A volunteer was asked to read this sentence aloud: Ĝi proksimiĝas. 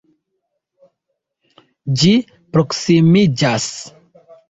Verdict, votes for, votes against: accepted, 2, 0